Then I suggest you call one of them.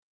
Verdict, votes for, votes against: rejected, 0, 2